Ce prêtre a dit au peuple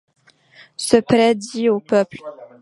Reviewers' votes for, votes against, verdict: 2, 0, accepted